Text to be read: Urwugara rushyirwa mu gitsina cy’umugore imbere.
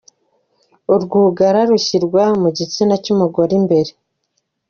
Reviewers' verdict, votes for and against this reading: accepted, 2, 0